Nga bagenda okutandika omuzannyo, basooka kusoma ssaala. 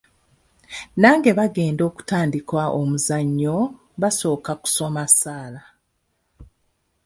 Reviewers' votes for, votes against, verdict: 0, 2, rejected